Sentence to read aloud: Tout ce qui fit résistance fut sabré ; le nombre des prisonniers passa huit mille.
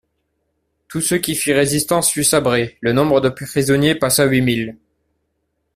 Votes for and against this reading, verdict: 1, 2, rejected